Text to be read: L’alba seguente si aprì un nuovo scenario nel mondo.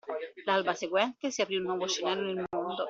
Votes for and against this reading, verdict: 1, 2, rejected